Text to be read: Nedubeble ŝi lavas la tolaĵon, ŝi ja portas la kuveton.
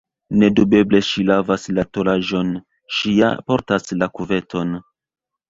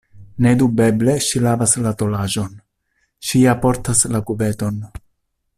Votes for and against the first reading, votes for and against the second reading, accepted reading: 0, 2, 2, 0, second